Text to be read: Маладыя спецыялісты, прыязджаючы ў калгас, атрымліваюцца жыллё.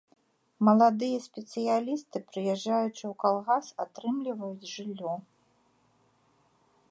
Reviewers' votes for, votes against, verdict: 0, 2, rejected